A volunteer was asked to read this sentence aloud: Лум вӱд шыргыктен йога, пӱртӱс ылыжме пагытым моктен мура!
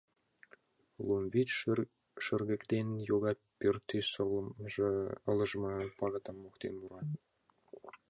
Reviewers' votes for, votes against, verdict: 0, 2, rejected